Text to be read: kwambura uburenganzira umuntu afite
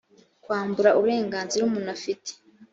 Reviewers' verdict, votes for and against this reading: accepted, 2, 0